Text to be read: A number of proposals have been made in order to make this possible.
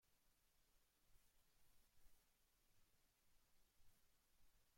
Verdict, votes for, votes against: rejected, 0, 2